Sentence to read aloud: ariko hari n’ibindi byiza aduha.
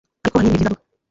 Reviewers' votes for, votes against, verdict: 0, 2, rejected